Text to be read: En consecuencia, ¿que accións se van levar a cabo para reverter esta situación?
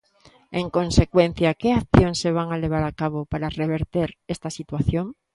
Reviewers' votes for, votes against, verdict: 0, 2, rejected